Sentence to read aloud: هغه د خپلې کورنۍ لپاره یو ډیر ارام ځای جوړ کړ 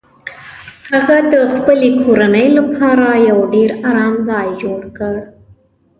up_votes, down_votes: 0, 2